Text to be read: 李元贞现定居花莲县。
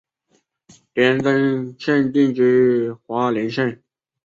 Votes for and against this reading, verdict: 3, 0, accepted